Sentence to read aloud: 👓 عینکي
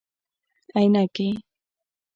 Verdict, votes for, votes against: accepted, 2, 0